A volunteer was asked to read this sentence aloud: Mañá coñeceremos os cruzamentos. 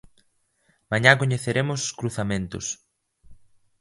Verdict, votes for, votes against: accepted, 2, 0